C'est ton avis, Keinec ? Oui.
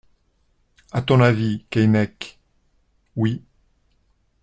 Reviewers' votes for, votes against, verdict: 0, 2, rejected